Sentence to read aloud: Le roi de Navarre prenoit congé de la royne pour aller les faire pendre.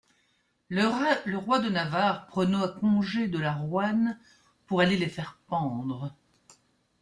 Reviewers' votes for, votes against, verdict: 0, 2, rejected